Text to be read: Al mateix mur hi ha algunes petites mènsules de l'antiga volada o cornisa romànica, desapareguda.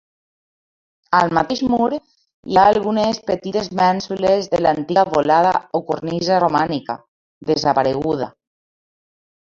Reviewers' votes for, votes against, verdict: 2, 1, accepted